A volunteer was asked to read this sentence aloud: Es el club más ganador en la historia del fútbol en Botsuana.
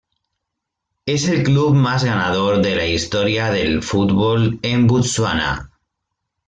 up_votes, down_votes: 1, 2